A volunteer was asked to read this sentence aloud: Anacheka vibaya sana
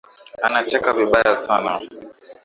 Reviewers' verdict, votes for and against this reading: accepted, 2, 0